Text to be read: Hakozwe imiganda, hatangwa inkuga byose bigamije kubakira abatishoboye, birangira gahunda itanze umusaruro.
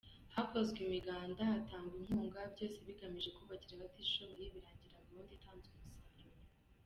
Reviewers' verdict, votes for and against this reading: rejected, 1, 2